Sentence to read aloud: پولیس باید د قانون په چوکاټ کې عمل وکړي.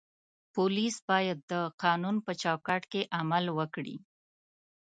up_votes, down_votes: 2, 0